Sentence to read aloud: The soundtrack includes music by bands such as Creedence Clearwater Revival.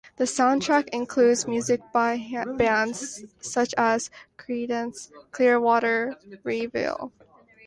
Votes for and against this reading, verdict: 1, 2, rejected